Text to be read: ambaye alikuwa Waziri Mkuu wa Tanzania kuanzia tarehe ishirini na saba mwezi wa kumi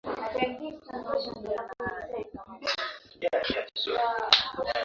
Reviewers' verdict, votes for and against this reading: rejected, 1, 9